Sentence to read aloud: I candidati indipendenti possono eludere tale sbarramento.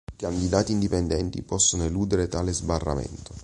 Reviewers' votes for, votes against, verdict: 2, 0, accepted